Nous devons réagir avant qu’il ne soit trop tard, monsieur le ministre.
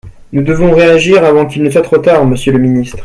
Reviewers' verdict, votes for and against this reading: accepted, 2, 0